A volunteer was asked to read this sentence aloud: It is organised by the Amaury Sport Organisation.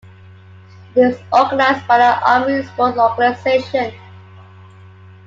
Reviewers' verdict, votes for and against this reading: rejected, 1, 2